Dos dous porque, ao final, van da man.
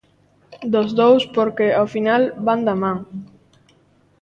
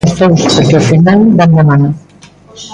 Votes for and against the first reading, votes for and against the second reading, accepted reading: 2, 0, 0, 2, first